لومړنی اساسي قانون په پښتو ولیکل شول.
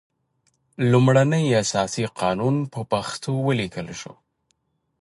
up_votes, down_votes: 2, 0